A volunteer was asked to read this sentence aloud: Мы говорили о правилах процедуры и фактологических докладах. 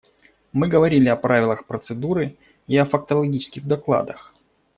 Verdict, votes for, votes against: rejected, 1, 2